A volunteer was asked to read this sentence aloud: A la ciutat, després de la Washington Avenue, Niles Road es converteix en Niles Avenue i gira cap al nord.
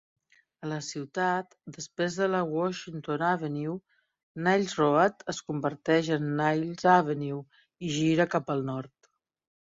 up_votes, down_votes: 4, 0